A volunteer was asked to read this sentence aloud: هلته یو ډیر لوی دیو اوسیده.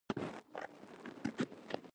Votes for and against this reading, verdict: 0, 2, rejected